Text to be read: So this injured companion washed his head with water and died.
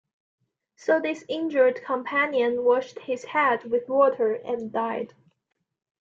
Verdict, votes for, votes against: accepted, 2, 0